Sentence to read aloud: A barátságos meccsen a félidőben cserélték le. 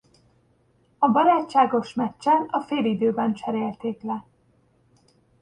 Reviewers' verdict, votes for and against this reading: accepted, 2, 0